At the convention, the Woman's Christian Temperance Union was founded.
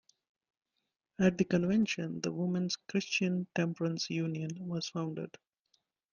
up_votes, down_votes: 2, 0